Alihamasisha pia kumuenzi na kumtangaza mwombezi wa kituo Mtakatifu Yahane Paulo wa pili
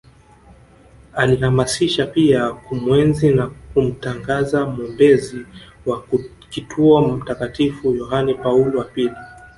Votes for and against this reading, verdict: 1, 2, rejected